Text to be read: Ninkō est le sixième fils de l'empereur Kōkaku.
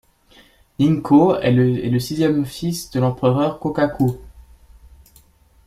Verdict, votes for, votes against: rejected, 0, 2